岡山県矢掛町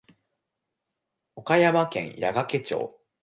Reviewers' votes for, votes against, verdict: 2, 0, accepted